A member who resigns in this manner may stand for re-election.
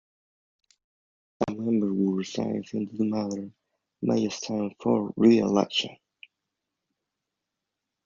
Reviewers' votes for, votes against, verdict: 0, 2, rejected